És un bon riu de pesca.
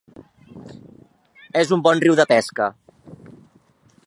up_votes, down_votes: 3, 0